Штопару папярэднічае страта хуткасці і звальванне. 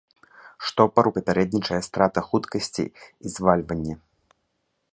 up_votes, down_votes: 2, 0